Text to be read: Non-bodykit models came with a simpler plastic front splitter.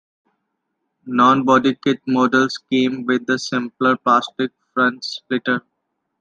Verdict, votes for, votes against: accepted, 2, 0